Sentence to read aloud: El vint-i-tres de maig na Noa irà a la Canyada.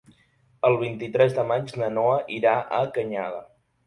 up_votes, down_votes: 0, 2